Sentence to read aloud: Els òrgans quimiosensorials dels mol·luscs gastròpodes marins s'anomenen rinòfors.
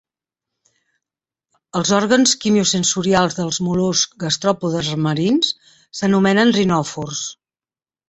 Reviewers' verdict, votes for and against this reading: accepted, 2, 0